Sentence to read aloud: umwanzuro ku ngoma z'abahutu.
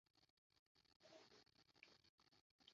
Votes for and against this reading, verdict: 0, 2, rejected